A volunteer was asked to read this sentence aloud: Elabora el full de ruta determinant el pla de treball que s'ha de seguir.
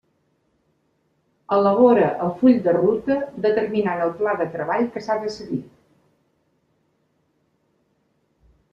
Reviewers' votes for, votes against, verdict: 2, 0, accepted